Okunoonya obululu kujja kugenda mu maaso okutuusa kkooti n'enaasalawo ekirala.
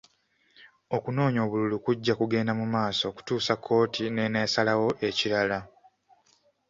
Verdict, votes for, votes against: accepted, 2, 0